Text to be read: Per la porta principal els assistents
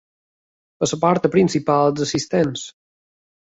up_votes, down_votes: 1, 2